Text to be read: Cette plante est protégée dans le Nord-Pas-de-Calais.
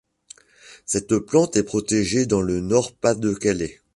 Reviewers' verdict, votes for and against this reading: accepted, 2, 0